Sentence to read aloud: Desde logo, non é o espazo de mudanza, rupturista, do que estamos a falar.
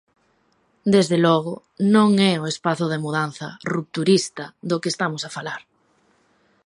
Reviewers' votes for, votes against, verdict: 2, 0, accepted